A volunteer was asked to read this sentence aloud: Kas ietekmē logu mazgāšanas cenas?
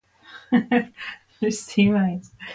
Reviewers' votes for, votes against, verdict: 0, 2, rejected